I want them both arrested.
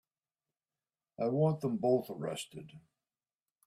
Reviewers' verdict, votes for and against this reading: accepted, 4, 0